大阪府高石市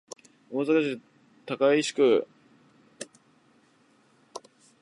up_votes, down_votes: 2, 3